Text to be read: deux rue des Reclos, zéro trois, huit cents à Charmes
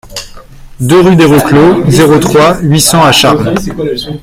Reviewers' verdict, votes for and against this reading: accepted, 2, 1